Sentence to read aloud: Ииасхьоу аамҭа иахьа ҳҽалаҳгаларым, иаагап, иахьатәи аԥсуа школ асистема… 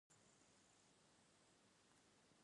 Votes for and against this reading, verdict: 1, 2, rejected